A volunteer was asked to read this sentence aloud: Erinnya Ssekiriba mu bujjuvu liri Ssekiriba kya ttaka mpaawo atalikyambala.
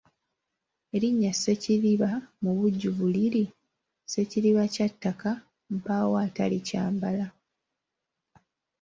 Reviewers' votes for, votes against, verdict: 3, 1, accepted